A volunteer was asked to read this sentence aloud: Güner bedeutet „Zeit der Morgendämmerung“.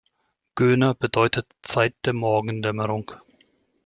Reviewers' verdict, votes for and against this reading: rejected, 1, 2